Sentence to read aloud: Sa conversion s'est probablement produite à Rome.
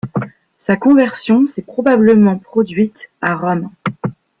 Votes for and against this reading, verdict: 3, 0, accepted